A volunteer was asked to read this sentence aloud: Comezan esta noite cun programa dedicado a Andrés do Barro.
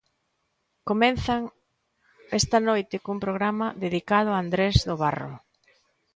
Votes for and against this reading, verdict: 1, 2, rejected